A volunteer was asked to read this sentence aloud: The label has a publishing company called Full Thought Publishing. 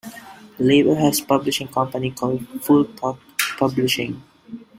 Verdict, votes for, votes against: rejected, 1, 2